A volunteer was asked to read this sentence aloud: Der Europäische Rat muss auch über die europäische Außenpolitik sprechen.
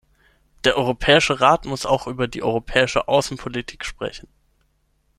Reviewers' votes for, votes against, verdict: 6, 0, accepted